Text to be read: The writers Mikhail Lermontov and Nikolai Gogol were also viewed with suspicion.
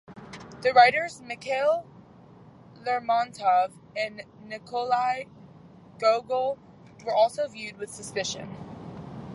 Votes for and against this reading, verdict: 0, 2, rejected